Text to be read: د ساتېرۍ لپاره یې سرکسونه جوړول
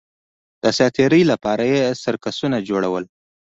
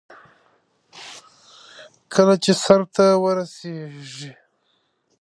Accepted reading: first